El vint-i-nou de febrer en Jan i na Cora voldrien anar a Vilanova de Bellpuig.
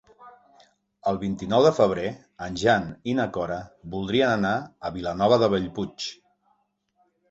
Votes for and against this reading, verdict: 3, 0, accepted